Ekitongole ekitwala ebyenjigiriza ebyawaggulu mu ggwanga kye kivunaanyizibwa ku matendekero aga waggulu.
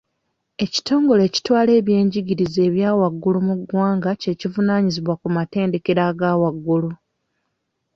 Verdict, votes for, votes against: accepted, 2, 0